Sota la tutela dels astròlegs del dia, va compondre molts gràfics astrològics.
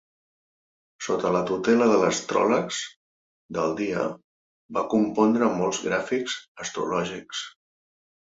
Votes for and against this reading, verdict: 0, 2, rejected